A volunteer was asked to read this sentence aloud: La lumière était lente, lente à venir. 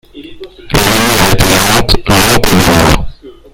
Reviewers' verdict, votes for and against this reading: rejected, 1, 2